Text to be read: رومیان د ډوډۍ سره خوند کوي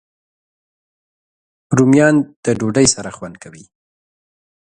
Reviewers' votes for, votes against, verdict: 2, 0, accepted